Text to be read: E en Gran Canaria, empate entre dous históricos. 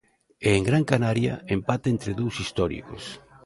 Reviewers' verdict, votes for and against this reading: accepted, 2, 0